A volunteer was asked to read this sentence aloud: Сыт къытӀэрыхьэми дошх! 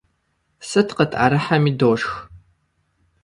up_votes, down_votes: 2, 0